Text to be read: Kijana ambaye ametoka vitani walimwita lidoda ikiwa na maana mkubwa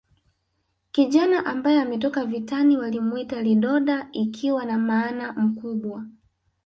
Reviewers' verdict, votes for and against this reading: accepted, 2, 0